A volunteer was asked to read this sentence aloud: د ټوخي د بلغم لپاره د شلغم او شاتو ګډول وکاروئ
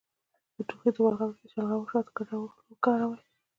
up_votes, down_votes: 0, 2